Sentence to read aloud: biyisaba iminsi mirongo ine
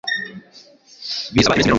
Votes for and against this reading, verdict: 1, 2, rejected